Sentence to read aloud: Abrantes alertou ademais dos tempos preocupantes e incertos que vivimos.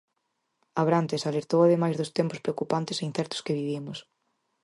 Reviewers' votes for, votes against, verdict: 4, 0, accepted